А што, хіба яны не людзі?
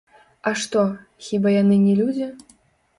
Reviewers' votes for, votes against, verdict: 1, 2, rejected